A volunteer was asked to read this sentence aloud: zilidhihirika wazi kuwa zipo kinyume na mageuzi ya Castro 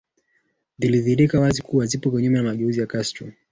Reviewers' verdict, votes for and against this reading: rejected, 0, 2